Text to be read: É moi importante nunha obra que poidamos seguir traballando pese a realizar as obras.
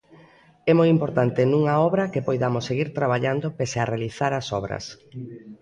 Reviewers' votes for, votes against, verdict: 0, 2, rejected